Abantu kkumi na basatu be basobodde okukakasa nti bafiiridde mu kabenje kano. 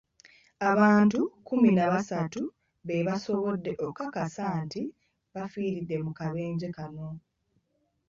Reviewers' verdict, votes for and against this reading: rejected, 1, 2